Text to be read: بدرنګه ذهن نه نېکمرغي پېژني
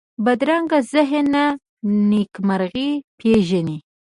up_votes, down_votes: 2, 1